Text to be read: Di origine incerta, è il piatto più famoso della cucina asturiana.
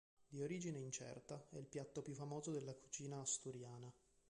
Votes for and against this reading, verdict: 2, 0, accepted